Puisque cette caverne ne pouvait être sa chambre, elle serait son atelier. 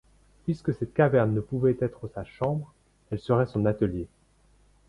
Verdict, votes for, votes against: accepted, 2, 0